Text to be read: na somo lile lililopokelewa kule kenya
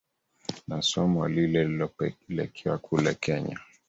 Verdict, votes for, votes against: rejected, 0, 2